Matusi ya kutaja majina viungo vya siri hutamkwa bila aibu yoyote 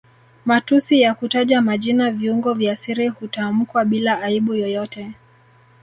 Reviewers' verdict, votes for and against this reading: rejected, 1, 2